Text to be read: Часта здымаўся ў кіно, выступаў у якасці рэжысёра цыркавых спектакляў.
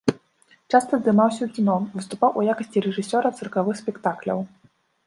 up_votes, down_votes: 2, 0